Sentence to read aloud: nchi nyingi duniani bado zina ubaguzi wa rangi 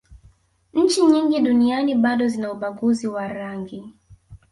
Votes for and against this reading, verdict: 0, 2, rejected